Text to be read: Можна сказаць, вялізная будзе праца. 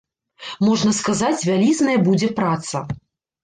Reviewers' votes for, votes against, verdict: 1, 2, rejected